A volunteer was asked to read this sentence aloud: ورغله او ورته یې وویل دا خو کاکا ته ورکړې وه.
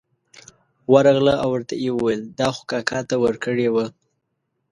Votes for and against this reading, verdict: 2, 0, accepted